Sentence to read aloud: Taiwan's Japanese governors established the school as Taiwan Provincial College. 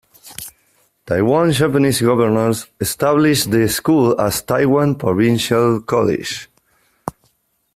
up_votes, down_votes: 0, 2